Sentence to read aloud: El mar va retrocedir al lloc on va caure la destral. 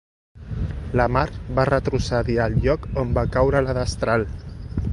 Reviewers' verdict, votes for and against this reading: rejected, 1, 3